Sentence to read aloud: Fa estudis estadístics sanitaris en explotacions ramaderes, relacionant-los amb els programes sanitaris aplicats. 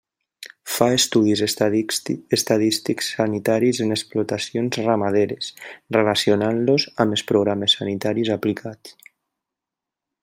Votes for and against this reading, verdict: 1, 2, rejected